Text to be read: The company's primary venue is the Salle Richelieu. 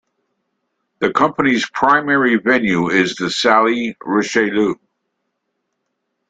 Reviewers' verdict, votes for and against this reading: accepted, 2, 1